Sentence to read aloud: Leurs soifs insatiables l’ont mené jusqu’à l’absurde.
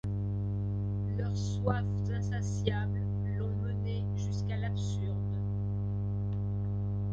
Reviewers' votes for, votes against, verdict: 0, 2, rejected